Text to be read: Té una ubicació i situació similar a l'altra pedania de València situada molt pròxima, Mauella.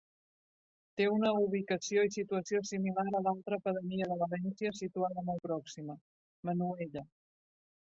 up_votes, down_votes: 1, 2